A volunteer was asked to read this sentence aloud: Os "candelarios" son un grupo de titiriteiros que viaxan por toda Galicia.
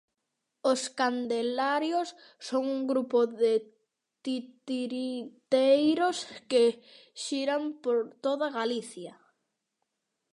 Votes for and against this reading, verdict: 0, 2, rejected